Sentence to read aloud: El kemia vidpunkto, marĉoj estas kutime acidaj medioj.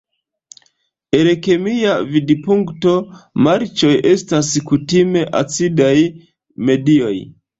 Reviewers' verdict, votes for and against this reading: accepted, 2, 0